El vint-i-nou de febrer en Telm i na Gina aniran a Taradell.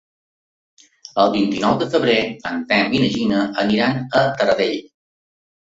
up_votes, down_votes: 3, 0